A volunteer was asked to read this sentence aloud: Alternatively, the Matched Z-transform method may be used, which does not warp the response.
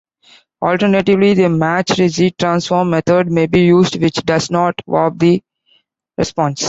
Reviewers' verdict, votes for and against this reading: accepted, 2, 0